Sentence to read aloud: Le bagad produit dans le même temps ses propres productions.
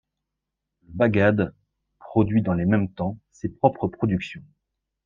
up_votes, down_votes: 1, 2